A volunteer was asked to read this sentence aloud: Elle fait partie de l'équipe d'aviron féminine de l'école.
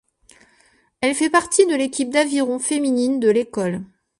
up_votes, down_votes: 2, 0